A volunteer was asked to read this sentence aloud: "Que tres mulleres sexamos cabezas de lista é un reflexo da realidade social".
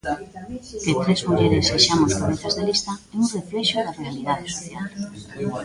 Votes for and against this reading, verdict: 0, 2, rejected